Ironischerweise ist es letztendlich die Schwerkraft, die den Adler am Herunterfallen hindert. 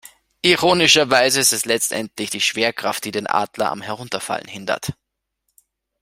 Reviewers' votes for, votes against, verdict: 2, 0, accepted